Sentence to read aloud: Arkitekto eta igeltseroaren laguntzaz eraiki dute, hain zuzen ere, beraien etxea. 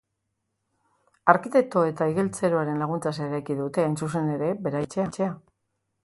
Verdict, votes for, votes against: rejected, 1, 4